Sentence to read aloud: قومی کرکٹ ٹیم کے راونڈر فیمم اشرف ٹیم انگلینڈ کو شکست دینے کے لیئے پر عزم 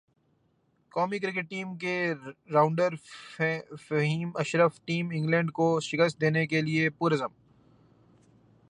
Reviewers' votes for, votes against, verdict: 1, 2, rejected